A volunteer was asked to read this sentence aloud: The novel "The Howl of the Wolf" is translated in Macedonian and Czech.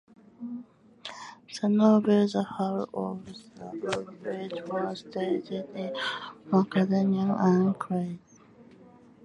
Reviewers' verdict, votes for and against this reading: rejected, 0, 2